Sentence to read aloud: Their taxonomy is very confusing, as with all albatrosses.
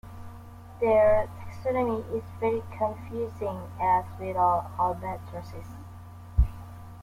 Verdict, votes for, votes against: rejected, 1, 2